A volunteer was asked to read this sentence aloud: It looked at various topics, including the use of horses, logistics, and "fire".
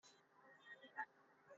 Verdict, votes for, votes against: rejected, 0, 2